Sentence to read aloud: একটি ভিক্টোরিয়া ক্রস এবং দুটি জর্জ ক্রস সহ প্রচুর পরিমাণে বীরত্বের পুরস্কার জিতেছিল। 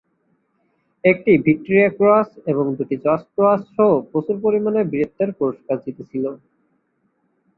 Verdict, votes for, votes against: accepted, 2, 0